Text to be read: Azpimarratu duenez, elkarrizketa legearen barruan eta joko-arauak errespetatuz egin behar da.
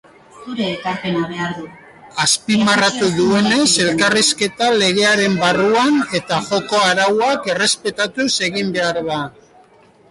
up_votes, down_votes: 2, 1